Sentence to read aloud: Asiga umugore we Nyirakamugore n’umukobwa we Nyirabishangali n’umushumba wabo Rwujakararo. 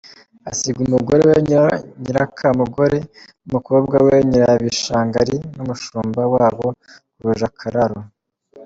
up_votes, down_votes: 2, 3